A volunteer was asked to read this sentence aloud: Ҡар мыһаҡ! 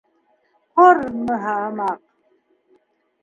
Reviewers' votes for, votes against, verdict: 1, 2, rejected